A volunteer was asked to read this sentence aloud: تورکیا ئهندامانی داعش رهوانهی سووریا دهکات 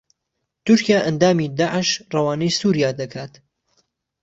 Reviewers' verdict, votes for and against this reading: rejected, 0, 2